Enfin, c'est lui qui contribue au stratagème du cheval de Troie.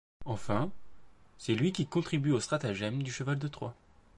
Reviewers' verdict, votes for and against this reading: accepted, 2, 0